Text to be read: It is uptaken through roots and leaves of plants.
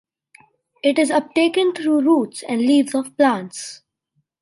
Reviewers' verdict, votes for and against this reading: accepted, 2, 0